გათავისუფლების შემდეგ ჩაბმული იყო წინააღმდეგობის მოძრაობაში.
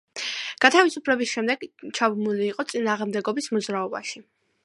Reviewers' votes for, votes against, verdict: 2, 0, accepted